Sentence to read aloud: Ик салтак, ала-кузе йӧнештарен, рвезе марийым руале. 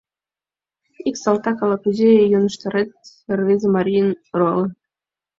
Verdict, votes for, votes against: rejected, 1, 2